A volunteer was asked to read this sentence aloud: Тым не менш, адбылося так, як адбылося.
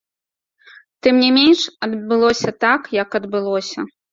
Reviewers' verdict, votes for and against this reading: accepted, 2, 0